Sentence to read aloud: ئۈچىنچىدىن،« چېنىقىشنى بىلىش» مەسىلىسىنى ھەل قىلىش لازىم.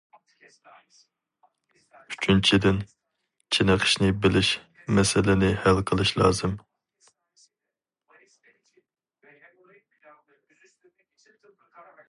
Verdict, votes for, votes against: rejected, 2, 2